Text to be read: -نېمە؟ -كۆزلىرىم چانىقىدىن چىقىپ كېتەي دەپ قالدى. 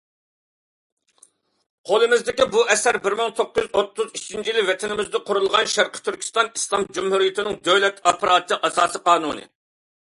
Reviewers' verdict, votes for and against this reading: rejected, 0, 2